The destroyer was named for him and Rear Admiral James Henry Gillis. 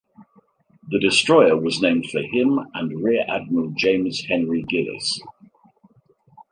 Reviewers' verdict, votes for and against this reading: accepted, 2, 0